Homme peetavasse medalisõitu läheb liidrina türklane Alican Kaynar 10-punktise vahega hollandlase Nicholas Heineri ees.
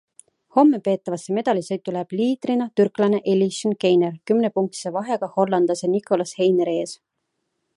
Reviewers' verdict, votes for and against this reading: rejected, 0, 2